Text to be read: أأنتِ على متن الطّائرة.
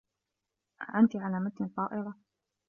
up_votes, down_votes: 2, 0